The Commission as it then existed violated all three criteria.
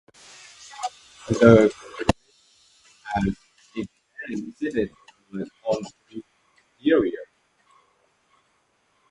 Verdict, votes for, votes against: rejected, 0, 2